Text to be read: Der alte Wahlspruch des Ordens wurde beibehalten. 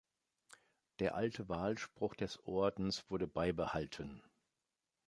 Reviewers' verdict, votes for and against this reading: accepted, 2, 0